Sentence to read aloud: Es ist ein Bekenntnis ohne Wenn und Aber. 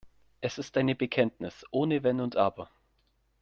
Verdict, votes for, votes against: rejected, 0, 3